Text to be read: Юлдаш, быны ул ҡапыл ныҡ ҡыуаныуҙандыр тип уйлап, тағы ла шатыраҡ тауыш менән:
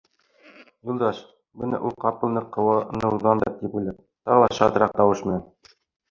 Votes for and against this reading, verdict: 0, 2, rejected